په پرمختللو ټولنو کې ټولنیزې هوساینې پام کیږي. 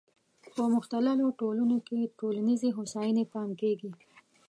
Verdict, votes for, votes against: rejected, 0, 2